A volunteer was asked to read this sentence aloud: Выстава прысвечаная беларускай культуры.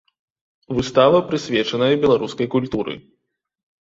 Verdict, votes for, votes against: accepted, 2, 0